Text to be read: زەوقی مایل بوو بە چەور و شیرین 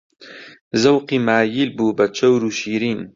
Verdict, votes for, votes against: accepted, 2, 0